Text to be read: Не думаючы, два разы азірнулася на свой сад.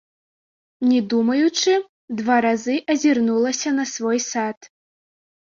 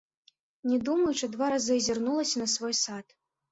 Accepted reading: second